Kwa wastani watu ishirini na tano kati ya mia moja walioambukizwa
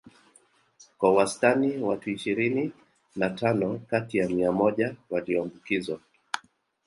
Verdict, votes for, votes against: accepted, 3, 0